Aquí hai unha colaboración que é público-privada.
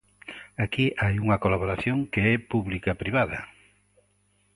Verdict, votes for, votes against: rejected, 0, 2